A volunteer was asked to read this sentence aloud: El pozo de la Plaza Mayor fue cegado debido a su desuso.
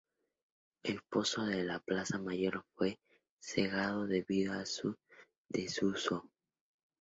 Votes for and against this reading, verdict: 0, 2, rejected